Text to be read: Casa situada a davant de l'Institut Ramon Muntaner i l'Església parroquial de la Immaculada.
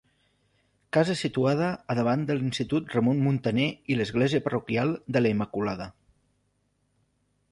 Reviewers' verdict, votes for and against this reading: accepted, 2, 0